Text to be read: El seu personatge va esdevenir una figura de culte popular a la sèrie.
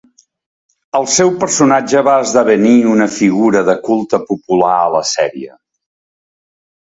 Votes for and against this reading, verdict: 2, 0, accepted